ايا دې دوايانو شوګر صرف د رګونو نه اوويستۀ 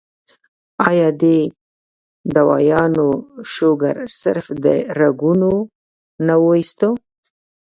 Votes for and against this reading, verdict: 1, 2, rejected